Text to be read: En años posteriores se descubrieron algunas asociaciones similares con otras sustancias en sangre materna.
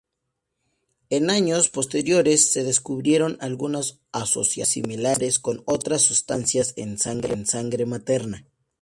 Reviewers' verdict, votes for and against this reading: rejected, 0, 2